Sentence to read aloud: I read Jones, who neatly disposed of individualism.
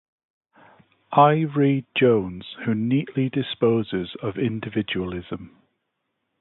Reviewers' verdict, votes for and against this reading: rejected, 1, 2